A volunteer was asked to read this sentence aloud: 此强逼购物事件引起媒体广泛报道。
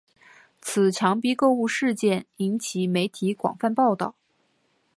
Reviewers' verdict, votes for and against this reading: accepted, 3, 0